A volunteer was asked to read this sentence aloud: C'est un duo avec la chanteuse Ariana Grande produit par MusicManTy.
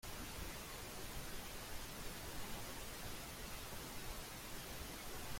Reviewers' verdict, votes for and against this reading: rejected, 0, 2